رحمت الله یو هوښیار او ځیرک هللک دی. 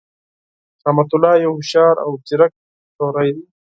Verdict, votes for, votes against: rejected, 2, 4